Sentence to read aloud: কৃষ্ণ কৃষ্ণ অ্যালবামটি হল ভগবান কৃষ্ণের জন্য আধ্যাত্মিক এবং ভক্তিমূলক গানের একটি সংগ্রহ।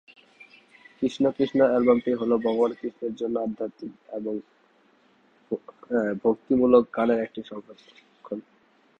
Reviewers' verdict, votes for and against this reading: rejected, 1, 3